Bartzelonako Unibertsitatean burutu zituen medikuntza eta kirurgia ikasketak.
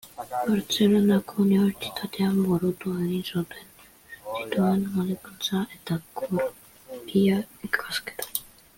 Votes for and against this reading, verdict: 0, 2, rejected